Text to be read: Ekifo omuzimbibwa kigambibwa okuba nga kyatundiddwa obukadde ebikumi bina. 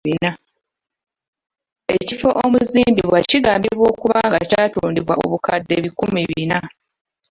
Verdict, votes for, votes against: rejected, 0, 2